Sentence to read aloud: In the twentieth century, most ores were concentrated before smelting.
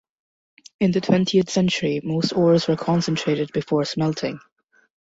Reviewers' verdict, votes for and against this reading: accepted, 2, 0